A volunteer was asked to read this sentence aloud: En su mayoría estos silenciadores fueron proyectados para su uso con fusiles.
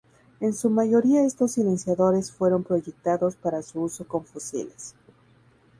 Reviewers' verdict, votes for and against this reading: accepted, 4, 0